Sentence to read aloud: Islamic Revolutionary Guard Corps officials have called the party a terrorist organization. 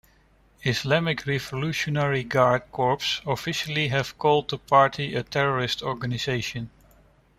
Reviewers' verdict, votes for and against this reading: rejected, 1, 2